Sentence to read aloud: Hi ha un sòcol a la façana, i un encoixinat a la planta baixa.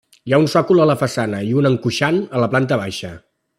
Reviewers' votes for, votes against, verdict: 1, 2, rejected